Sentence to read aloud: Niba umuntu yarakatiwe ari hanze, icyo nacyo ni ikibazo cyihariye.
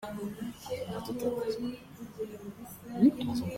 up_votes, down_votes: 0, 2